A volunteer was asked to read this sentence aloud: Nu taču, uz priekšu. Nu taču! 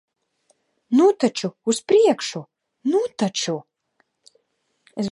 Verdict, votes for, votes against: rejected, 0, 2